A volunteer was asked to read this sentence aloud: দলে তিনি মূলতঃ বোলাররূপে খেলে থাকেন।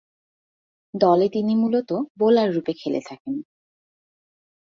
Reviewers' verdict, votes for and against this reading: accepted, 5, 0